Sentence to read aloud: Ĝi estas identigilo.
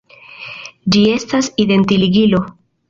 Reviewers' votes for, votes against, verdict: 0, 2, rejected